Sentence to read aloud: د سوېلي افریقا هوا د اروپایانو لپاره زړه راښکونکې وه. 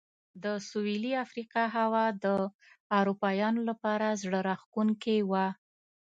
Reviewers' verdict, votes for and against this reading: accepted, 2, 0